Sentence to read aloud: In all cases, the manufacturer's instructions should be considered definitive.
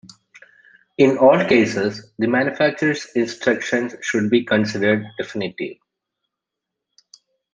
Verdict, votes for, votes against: accepted, 2, 0